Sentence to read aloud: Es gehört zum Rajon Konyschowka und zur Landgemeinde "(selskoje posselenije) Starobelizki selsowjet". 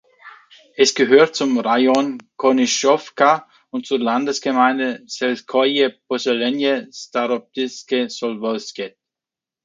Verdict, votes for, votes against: rejected, 0, 2